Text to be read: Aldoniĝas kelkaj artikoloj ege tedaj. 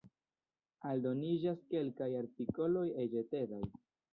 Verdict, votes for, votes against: rejected, 1, 2